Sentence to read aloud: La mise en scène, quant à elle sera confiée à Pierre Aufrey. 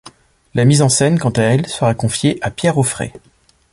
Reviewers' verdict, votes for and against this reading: accepted, 2, 0